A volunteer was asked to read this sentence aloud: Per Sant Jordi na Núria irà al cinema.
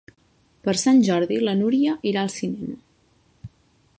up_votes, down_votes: 1, 3